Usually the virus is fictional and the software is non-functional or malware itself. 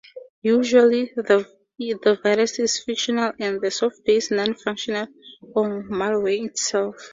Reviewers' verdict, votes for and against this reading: accepted, 2, 0